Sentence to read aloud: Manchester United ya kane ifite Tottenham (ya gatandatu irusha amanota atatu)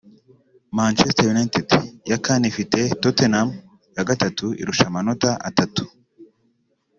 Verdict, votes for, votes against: rejected, 1, 3